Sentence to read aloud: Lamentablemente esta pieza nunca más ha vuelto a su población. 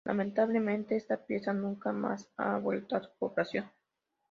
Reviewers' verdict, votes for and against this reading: accepted, 2, 0